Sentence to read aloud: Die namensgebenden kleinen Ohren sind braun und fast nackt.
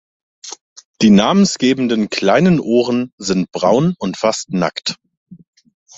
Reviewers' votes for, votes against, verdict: 2, 0, accepted